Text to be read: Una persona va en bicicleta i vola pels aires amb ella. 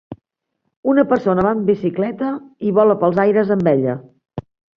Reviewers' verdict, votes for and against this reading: accepted, 2, 0